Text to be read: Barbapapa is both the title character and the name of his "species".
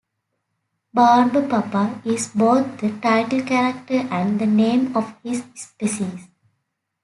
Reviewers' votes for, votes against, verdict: 2, 0, accepted